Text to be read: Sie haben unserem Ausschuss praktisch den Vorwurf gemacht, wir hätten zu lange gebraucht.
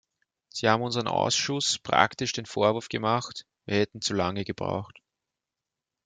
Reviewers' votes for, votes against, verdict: 2, 0, accepted